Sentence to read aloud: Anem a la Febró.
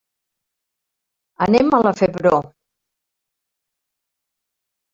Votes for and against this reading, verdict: 0, 2, rejected